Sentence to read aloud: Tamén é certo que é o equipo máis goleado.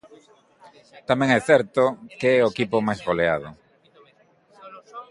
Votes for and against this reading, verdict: 2, 1, accepted